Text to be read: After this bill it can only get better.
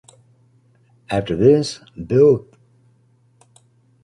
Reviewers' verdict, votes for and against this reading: rejected, 0, 2